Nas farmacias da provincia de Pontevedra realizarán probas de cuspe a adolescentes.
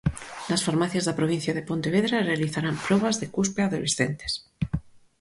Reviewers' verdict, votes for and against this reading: accepted, 4, 0